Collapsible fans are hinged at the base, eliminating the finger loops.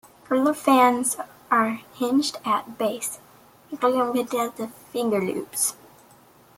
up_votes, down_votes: 1, 2